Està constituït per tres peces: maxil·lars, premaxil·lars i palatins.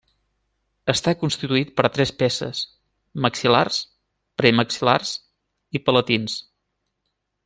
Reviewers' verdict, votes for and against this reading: accepted, 2, 0